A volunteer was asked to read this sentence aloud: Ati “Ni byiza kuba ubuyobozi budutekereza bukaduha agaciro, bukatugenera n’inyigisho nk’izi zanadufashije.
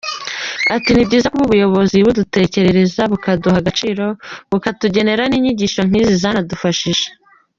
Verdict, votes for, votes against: rejected, 1, 2